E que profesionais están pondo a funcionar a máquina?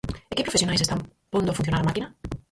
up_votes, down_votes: 0, 4